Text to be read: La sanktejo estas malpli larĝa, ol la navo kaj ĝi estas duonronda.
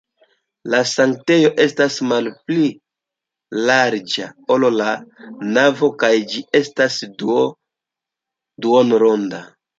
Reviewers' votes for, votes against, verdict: 1, 2, rejected